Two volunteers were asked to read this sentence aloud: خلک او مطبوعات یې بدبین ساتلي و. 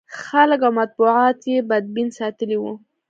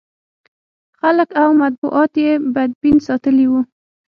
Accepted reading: first